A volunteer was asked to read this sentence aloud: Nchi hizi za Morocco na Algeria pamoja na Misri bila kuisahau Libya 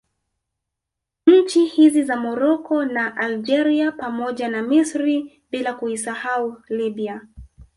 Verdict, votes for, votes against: rejected, 1, 2